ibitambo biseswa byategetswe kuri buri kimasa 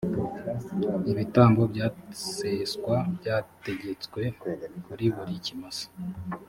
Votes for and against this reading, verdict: 1, 2, rejected